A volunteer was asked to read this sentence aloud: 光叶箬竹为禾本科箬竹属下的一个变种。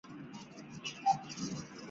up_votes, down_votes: 0, 2